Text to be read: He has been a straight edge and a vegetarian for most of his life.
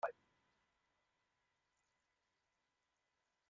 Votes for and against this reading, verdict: 0, 2, rejected